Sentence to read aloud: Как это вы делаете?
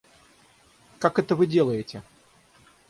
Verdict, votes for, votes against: accepted, 6, 0